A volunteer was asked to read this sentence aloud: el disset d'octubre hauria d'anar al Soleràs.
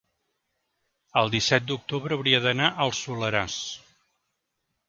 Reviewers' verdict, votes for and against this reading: accepted, 3, 0